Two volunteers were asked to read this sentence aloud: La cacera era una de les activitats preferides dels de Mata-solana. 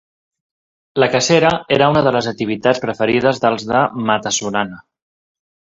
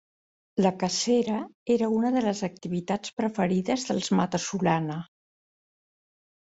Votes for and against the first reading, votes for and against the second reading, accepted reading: 2, 1, 1, 2, first